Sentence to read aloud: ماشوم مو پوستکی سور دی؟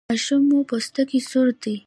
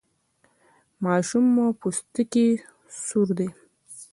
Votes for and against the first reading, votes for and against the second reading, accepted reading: 2, 0, 1, 2, first